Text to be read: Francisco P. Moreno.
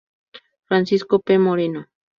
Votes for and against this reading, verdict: 4, 0, accepted